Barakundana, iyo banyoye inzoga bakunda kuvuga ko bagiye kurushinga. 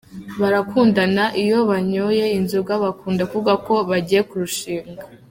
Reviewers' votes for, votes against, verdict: 1, 2, rejected